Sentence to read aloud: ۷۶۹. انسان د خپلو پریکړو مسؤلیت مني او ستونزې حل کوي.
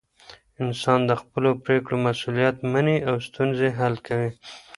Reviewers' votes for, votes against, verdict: 0, 2, rejected